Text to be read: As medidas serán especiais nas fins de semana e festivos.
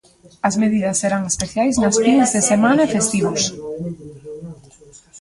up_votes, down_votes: 0, 2